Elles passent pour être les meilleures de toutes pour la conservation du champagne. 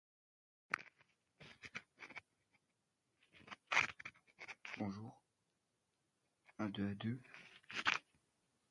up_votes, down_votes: 0, 2